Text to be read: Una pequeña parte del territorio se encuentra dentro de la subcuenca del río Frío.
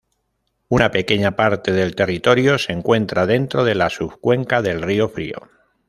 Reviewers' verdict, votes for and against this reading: accepted, 2, 0